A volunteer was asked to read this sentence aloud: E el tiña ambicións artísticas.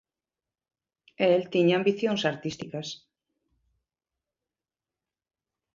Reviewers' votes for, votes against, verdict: 2, 0, accepted